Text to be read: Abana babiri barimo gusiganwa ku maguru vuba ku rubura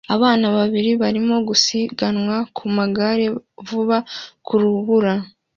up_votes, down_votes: 2, 0